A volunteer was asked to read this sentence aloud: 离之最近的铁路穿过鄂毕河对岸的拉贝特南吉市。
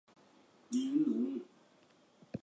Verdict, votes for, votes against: rejected, 0, 2